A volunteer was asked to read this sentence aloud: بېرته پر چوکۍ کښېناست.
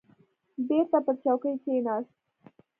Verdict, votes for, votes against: accepted, 2, 0